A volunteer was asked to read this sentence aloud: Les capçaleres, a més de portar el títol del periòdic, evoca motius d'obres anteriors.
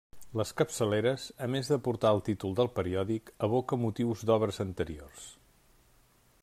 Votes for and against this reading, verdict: 3, 0, accepted